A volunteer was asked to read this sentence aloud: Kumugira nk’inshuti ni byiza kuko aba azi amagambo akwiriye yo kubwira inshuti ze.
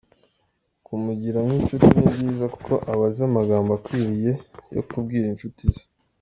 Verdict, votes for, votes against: accepted, 2, 0